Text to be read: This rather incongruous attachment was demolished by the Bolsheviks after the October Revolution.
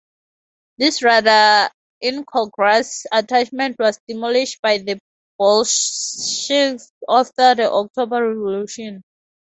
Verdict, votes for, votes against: rejected, 2, 2